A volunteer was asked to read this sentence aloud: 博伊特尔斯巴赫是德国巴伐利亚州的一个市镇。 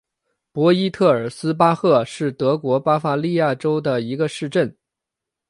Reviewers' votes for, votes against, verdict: 2, 0, accepted